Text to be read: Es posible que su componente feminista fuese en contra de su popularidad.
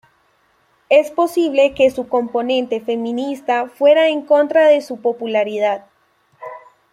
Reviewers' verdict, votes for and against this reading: rejected, 0, 2